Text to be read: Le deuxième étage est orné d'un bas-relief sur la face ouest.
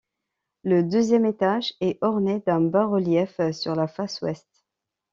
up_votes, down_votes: 2, 0